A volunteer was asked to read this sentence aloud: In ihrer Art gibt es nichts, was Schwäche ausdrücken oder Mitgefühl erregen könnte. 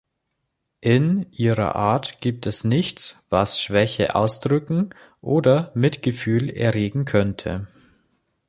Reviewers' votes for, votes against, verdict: 2, 0, accepted